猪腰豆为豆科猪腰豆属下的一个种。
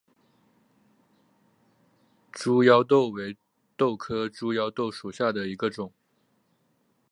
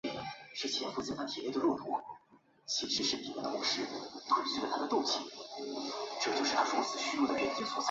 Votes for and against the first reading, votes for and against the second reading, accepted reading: 8, 0, 0, 2, first